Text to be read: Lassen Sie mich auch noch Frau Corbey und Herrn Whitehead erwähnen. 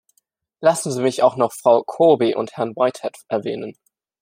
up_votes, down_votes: 2, 0